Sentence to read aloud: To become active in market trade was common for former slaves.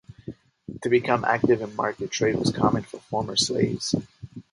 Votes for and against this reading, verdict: 2, 0, accepted